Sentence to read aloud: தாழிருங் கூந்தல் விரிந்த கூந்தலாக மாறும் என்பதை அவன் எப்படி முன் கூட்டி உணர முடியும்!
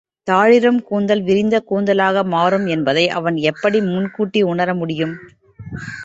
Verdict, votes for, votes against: accepted, 3, 0